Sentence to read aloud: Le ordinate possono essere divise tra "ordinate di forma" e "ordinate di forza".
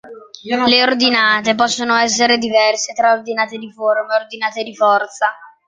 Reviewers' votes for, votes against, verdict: 1, 2, rejected